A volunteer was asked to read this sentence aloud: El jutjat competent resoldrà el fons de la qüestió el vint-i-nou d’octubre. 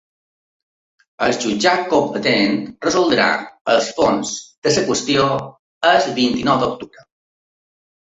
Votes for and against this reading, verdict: 0, 3, rejected